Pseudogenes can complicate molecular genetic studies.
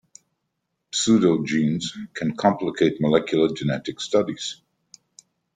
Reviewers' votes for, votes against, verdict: 2, 0, accepted